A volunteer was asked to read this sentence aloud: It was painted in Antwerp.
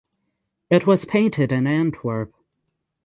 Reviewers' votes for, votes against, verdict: 6, 0, accepted